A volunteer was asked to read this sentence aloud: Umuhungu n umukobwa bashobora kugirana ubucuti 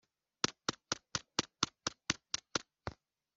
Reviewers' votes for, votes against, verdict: 0, 2, rejected